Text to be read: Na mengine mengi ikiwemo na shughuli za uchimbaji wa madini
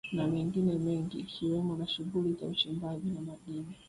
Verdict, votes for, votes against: rejected, 0, 2